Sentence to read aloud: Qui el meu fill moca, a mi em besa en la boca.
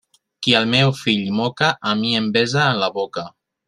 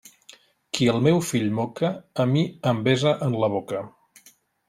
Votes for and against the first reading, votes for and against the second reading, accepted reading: 1, 2, 3, 0, second